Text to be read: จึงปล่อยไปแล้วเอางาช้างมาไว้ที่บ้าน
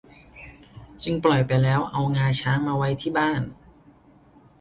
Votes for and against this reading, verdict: 2, 0, accepted